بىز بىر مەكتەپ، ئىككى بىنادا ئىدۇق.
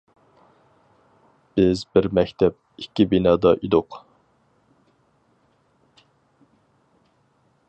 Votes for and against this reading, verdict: 4, 0, accepted